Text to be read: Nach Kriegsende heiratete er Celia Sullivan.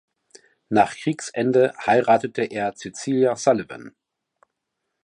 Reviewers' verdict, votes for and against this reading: rejected, 1, 2